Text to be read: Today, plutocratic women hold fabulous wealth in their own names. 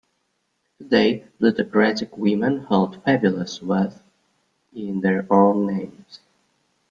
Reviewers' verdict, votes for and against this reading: rejected, 1, 2